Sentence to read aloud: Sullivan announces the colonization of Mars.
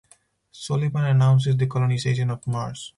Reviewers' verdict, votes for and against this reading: rejected, 2, 2